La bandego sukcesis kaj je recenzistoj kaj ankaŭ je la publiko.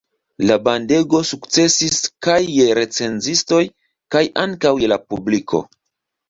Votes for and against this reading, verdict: 2, 0, accepted